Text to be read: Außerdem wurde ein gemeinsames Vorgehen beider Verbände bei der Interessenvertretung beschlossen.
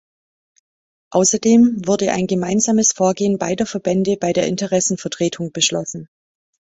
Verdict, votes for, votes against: accepted, 2, 0